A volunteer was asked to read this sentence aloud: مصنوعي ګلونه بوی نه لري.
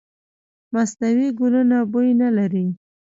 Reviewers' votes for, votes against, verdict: 1, 2, rejected